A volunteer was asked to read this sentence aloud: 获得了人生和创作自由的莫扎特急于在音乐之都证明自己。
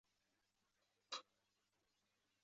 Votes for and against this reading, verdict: 0, 2, rejected